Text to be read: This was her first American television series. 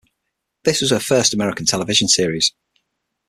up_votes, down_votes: 6, 0